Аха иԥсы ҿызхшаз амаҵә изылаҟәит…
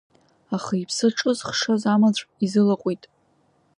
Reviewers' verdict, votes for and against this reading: accepted, 2, 0